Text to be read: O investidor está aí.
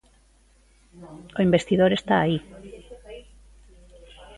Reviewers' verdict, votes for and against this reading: accepted, 2, 0